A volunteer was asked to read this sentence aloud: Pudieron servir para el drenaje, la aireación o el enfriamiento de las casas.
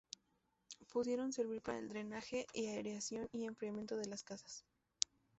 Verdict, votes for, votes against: rejected, 0, 2